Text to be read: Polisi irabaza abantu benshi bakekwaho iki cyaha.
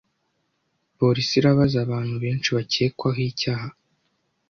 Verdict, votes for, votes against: rejected, 1, 2